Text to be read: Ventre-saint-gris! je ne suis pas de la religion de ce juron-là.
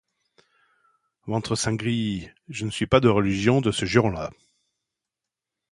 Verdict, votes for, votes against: rejected, 0, 2